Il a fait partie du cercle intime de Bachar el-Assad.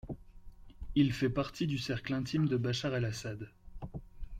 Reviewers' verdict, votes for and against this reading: rejected, 0, 2